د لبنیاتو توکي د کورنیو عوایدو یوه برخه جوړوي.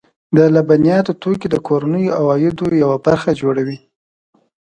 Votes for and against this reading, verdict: 2, 0, accepted